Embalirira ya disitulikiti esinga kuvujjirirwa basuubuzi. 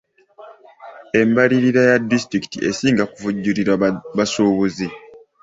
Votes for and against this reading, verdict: 0, 2, rejected